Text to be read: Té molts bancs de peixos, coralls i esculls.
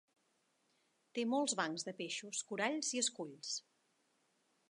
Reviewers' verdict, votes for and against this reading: accepted, 3, 0